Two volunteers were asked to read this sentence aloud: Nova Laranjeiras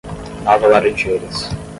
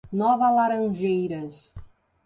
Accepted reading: second